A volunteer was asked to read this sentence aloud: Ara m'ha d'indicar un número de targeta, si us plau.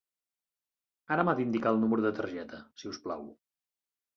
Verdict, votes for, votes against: accepted, 2, 0